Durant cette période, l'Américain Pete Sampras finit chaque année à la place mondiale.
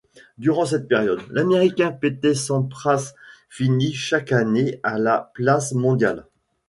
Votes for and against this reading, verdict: 2, 1, accepted